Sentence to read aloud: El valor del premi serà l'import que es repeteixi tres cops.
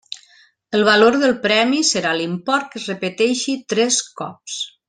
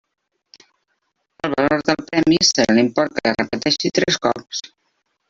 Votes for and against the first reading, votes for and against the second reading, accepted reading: 3, 0, 0, 2, first